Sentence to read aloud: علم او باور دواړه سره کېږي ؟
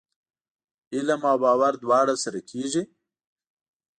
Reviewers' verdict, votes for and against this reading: accepted, 2, 0